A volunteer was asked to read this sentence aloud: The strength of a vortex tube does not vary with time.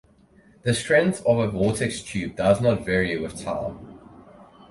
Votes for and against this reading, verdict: 2, 2, rejected